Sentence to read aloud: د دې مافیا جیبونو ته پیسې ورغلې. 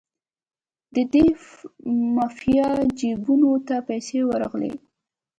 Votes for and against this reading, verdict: 2, 0, accepted